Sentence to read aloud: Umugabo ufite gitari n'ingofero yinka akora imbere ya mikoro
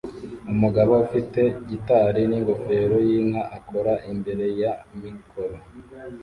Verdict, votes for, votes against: rejected, 0, 2